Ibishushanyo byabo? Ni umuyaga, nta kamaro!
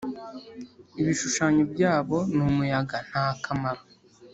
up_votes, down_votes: 3, 0